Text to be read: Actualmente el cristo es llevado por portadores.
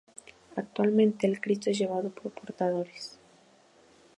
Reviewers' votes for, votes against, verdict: 0, 2, rejected